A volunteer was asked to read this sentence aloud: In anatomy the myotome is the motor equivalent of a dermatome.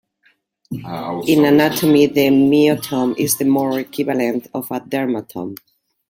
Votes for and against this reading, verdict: 1, 2, rejected